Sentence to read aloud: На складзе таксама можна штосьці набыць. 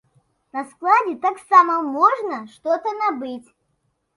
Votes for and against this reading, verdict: 0, 2, rejected